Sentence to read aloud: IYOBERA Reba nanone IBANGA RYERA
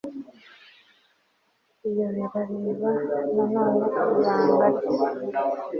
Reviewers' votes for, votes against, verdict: 2, 3, rejected